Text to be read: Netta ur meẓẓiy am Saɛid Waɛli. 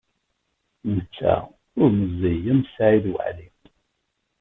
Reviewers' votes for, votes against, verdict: 0, 2, rejected